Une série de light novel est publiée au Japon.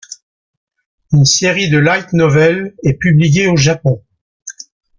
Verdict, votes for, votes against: rejected, 1, 2